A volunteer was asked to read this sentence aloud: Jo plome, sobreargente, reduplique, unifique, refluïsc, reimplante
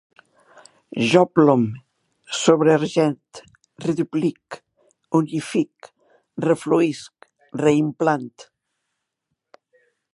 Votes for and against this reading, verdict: 0, 2, rejected